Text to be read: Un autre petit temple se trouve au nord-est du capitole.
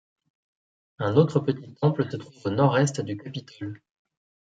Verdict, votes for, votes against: rejected, 1, 2